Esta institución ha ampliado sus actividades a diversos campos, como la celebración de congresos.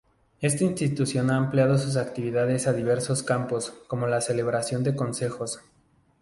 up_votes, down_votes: 0, 2